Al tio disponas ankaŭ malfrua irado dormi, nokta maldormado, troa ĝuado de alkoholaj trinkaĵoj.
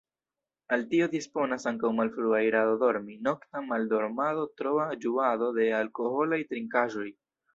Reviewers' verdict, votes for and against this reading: rejected, 0, 2